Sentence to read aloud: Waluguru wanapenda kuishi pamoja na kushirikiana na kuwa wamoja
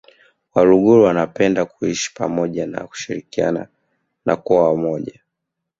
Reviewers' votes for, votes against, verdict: 1, 2, rejected